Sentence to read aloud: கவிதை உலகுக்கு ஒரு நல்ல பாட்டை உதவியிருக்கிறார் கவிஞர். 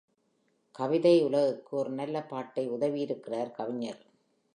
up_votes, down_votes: 2, 1